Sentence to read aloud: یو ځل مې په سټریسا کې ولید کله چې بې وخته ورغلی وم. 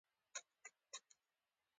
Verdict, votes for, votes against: accepted, 2, 0